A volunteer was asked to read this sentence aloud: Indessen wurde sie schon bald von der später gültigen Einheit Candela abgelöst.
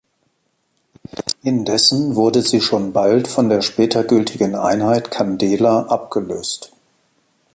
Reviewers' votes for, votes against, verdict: 2, 0, accepted